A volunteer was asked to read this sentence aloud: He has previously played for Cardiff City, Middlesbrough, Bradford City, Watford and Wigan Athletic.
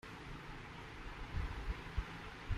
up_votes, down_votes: 0, 2